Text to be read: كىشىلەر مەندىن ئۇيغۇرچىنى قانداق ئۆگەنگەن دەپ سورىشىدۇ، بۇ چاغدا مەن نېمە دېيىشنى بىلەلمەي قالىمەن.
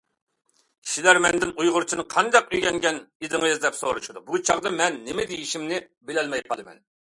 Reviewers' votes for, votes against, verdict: 0, 2, rejected